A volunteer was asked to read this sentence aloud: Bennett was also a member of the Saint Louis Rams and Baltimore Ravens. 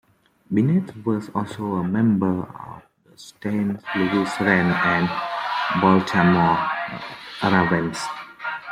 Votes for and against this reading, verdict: 0, 2, rejected